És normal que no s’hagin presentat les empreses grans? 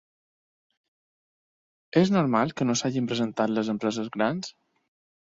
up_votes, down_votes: 2, 0